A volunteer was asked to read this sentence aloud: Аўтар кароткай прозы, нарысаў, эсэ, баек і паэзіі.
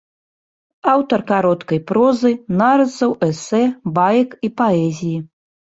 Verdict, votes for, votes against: accepted, 2, 0